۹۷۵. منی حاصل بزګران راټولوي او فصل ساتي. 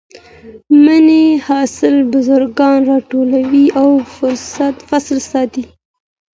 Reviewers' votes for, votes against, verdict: 0, 2, rejected